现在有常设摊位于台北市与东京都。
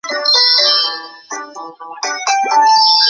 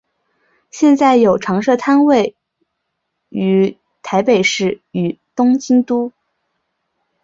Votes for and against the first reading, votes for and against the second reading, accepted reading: 1, 2, 5, 1, second